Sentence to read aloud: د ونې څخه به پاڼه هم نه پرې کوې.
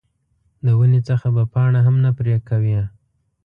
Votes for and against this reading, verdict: 2, 0, accepted